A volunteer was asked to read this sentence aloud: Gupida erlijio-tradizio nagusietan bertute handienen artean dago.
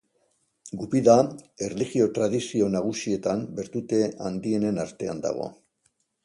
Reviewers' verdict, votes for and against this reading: accepted, 2, 0